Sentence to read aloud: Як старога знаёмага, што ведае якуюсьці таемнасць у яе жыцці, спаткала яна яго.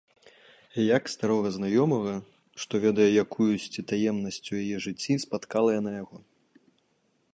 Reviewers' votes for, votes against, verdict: 2, 0, accepted